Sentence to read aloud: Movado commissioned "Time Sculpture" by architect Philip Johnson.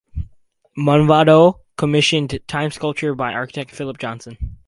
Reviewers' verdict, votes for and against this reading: accepted, 4, 0